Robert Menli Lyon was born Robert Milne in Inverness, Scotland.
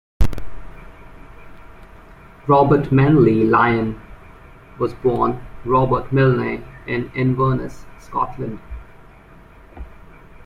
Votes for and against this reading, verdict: 1, 2, rejected